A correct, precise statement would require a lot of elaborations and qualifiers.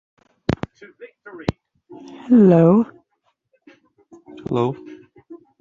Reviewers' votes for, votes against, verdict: 0, 2, rejected